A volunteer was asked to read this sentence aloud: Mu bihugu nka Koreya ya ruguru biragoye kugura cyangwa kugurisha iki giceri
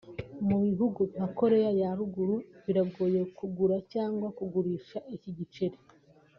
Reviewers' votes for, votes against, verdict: 2, 1, accepted